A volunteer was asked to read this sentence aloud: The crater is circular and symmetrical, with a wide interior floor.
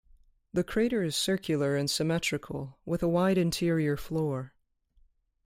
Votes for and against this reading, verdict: 2, 0, accepted